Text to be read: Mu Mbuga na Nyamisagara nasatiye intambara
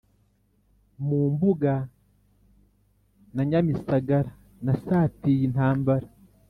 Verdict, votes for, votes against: accepted, 3, 0